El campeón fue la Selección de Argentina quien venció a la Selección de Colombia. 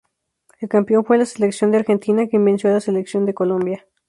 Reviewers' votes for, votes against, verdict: 2, 0, accepted